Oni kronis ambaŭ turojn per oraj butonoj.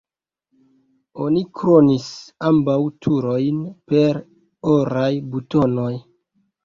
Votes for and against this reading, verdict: 1, 2, rejected